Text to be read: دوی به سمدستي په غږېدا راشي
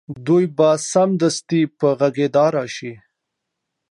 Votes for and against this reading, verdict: 2, 0, accepted